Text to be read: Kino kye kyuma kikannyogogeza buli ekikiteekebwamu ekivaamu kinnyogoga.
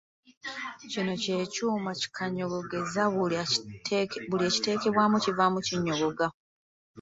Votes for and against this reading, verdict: 1, 2, rejected